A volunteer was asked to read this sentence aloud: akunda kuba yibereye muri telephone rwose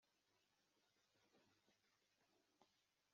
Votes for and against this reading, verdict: 2, 1, accepted